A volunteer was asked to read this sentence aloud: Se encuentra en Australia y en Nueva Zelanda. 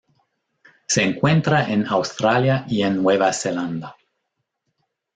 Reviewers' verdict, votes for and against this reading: accepted, 2, 0